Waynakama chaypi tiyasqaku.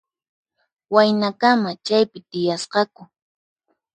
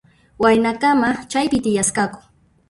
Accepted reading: first